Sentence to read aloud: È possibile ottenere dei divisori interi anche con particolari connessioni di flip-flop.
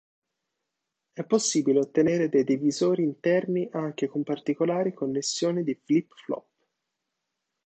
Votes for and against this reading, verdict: 2, 3, rejected